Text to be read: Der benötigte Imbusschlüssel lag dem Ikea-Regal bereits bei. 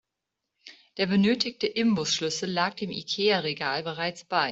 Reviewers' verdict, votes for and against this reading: accepted, 2, 0